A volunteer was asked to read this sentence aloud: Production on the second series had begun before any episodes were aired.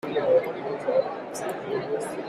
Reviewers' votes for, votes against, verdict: 0, 2, rejected